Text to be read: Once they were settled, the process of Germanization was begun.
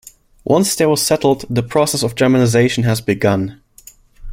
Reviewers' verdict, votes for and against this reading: rejected, 0, 2